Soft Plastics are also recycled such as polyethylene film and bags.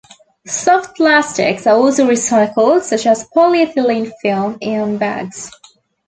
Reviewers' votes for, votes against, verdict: 2, 0, accepted